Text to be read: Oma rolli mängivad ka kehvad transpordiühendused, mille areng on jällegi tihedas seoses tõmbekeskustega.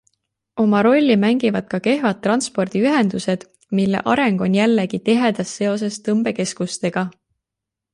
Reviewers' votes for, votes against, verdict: 2, 0, accepted